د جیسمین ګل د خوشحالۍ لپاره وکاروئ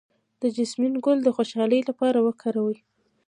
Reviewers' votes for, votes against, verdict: 2, 1, accepted